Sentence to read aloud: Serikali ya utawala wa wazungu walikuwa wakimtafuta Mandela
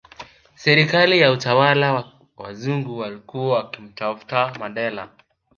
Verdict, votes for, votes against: accepted, 2, 1